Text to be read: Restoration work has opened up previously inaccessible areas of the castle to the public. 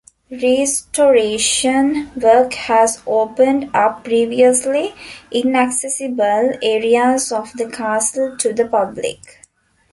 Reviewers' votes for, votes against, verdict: 2, 1, accepted